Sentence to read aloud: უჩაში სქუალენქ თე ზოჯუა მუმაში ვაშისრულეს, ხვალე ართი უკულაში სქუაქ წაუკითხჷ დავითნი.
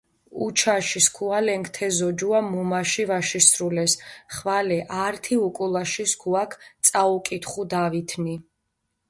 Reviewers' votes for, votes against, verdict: 0, 2, rejected